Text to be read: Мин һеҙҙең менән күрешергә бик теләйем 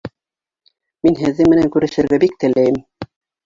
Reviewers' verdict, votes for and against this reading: rejected, 1, 2